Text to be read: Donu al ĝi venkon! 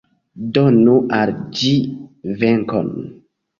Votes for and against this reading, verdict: 2, 0, accepted